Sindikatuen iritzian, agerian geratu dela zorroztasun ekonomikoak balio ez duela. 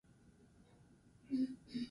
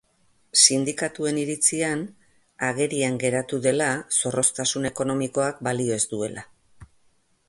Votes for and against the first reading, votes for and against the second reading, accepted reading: 0, 6, 5, 0, second